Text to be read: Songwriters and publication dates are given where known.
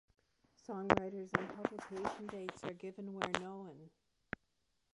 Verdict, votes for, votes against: rejected, 1, 2